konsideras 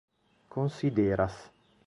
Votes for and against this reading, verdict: 2, 0, accepted